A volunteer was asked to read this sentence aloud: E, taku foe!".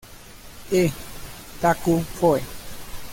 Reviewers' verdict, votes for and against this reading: rejected, 0, 2